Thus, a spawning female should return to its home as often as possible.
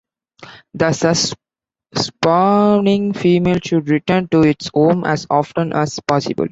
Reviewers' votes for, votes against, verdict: 0, 2, rejected